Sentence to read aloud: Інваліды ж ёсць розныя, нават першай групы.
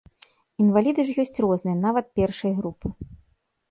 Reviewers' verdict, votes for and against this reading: accepted, 2, 0